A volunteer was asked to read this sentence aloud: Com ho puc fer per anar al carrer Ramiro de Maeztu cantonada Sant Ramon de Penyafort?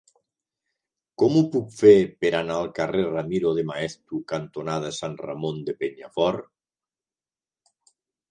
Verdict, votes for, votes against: accepted, 2, 0